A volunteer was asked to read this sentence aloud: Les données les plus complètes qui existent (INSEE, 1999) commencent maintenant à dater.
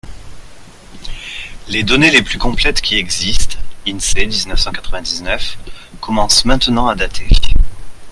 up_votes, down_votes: 0, 2